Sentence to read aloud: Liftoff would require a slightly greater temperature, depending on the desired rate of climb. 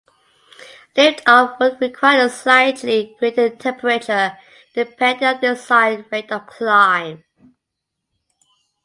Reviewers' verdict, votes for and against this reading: accepted, 2, 0